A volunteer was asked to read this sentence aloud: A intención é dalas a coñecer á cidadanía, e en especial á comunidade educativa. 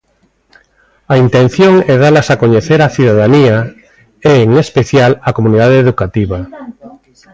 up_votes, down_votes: 1, 2